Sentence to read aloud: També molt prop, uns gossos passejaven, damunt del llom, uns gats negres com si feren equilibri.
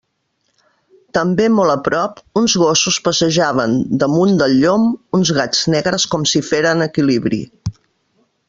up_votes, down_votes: 0, 2